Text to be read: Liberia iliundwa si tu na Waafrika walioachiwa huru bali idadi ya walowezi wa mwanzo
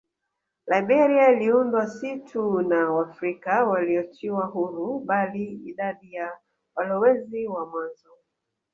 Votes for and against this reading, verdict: 2, 0, accepted